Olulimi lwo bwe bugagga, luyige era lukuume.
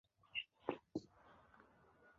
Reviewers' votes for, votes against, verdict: 0, 2, rejected